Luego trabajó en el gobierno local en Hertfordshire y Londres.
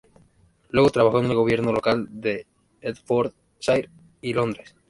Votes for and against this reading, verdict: 0, 2, rejected